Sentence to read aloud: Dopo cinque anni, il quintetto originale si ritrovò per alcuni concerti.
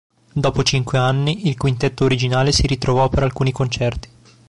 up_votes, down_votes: 2, 0